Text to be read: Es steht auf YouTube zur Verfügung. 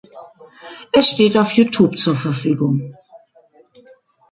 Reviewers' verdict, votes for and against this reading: rejected, 1, 2